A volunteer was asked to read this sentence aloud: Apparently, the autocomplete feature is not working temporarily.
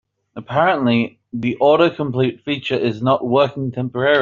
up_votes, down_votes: 0, 2